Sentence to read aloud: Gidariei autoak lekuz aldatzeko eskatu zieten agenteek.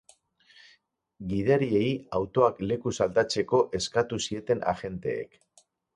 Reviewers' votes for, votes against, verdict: 2, 4, rejected